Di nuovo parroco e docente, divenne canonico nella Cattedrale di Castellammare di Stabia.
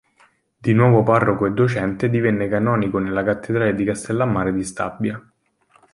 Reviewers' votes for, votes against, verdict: 2, 0, accepted